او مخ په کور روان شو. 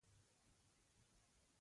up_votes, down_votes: 0, 2